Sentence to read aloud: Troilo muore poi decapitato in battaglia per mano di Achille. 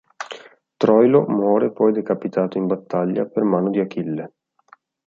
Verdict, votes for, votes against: accepted, 2, 0